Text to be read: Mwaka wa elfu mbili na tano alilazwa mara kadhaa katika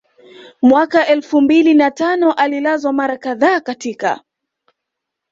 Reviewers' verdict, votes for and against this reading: rejected, 1, 2